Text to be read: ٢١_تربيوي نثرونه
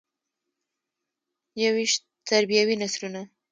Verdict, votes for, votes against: rejected, 0, 2